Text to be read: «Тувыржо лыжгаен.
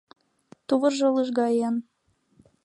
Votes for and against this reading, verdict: 3, 0, accepted